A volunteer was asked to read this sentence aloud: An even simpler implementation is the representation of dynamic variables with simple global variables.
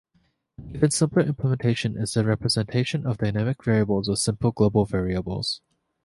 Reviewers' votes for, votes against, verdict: 2, 1, accepted